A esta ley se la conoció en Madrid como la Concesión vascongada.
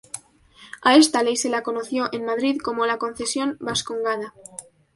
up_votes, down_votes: 2, 0